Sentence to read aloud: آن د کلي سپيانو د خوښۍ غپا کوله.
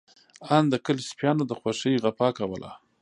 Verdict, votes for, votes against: accepted, 2, 0